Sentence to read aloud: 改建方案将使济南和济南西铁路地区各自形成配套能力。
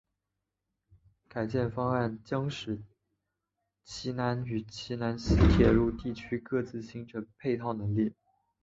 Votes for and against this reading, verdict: 1, 2, rejected